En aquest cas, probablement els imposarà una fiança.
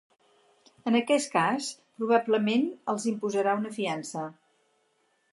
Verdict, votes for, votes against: accepted, 4, 0